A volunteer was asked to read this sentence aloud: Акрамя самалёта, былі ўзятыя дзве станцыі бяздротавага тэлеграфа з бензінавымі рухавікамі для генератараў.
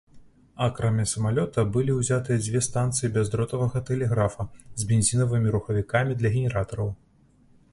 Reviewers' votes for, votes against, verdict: 2, 1, accepted